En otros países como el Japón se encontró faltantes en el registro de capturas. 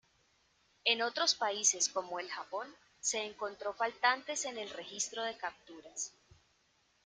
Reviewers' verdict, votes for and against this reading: accepted, 2, 0